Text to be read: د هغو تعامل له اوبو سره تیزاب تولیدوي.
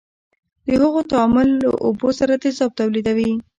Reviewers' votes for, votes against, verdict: 1, 2, rejected